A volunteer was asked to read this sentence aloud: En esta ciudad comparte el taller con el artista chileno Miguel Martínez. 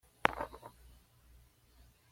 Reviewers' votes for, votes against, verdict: 1, 2, rejected